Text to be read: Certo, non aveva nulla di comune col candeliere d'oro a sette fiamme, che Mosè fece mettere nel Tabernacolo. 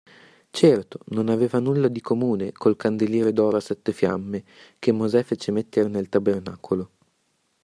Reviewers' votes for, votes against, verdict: 2, 0, accepted